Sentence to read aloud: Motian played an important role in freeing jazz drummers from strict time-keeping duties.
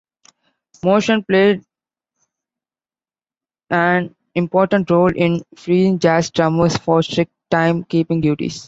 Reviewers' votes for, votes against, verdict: 1, 2, rejected